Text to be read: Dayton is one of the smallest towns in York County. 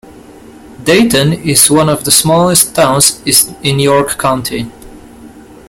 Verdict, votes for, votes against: rejected, 1, 2